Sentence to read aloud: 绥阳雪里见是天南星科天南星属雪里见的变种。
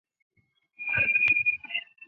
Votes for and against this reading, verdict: 2, 4, rejected